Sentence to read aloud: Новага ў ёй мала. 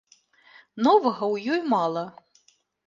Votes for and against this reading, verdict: 2, 0, accepted